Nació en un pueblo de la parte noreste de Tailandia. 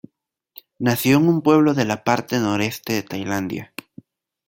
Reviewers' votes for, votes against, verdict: 2, 1, accepted